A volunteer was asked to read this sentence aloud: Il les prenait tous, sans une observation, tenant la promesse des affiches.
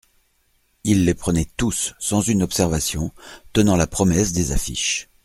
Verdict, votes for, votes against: accepted, 2, 0